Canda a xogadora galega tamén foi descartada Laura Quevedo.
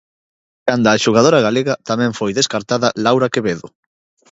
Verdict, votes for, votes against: accepted, 2, 0